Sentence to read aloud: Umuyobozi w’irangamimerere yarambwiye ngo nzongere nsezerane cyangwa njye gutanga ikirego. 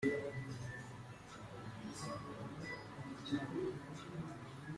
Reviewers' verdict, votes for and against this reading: rejected, 0, 2